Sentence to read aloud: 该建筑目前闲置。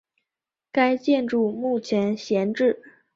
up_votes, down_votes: 3, 0